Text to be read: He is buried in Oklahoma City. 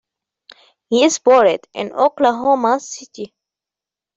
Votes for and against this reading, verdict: 0, 2, rejected